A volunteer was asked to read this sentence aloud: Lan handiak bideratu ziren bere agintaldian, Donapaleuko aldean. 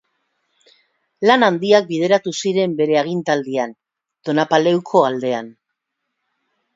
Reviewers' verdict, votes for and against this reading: accepted, 2, 0